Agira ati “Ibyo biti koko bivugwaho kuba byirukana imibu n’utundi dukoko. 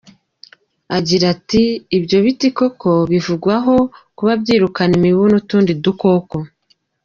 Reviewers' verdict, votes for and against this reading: accepted, 2, 0